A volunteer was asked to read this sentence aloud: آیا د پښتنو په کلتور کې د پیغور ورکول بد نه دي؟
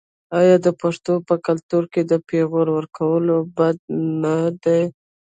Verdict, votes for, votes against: rejected, 1, 2